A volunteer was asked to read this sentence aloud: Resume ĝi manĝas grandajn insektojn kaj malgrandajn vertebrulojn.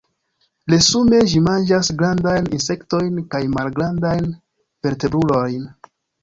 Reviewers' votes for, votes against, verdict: 0, 2, rejected